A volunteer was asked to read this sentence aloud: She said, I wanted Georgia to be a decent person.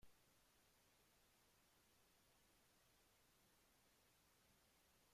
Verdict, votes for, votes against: rejected, 0, 2